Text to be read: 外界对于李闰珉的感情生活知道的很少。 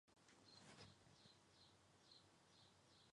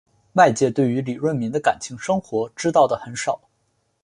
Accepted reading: second